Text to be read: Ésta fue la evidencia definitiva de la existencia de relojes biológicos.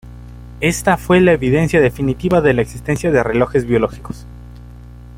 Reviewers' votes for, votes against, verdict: 2, 0, accepted